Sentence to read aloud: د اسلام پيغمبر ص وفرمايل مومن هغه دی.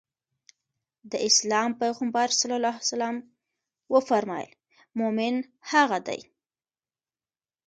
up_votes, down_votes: 2, 0